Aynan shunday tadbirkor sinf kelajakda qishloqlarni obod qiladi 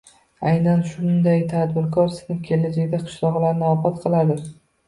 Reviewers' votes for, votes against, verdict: 1, 2, rejected